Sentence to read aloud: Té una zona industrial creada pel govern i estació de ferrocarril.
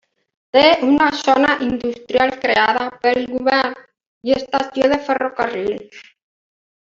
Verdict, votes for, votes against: accepted, 2, 1